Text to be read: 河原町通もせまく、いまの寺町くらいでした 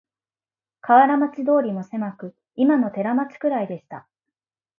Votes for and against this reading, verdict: 1, 2, rejected